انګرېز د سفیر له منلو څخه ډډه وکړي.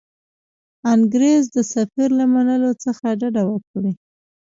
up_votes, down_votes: 2, 1